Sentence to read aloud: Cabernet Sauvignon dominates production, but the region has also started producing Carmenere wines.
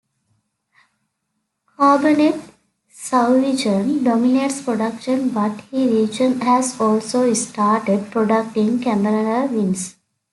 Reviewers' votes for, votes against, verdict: 1, 2, rejected